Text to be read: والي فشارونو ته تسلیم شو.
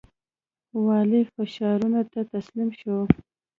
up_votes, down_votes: 2, 0